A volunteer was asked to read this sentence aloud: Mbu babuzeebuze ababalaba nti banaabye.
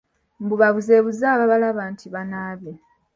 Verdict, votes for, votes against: accepted, 3, 0